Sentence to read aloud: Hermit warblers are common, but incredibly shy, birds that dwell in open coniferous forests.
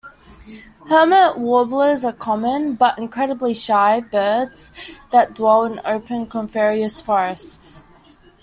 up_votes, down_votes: 1, 2